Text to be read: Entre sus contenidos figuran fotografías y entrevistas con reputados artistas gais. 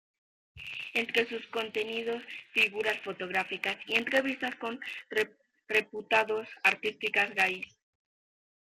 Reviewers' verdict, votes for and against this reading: rejected, 1, 2